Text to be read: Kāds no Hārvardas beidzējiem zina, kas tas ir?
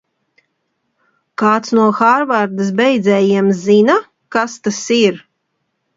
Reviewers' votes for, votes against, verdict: 2, 0, accepted